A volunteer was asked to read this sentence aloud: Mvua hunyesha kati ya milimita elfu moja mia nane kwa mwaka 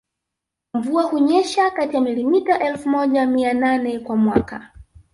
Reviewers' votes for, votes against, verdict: 0, 2, rejected